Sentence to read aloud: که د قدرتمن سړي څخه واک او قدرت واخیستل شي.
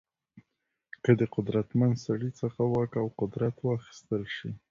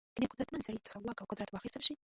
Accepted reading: first